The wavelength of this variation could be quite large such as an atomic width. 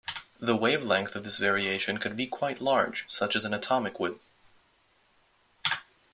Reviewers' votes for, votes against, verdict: 2, 0, accepted